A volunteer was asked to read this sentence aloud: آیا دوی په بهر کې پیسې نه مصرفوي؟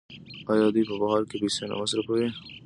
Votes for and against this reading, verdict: 2, 0, accepted